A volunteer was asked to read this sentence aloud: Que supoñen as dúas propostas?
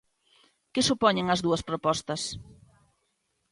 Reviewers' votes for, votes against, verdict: 2, 0, accepted